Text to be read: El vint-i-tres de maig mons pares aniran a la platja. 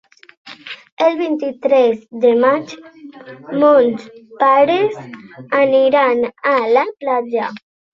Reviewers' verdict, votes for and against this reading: rejected, 1, 2